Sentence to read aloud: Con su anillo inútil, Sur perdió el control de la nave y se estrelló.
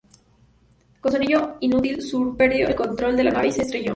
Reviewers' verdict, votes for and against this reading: rejected, 0, 2